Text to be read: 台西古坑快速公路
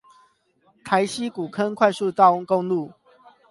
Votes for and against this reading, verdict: 0, 8, rejected